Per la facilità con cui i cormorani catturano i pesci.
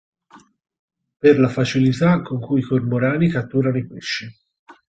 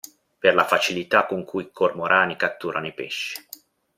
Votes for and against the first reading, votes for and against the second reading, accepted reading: 2, 4, 2, 0, second